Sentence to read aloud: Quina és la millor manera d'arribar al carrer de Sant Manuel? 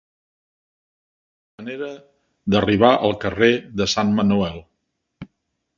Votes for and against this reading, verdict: 0, 2, rejected